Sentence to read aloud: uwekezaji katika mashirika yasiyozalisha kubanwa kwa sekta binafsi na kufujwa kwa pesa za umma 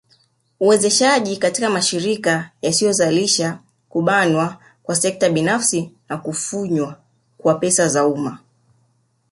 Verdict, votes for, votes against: rejected, 1, 2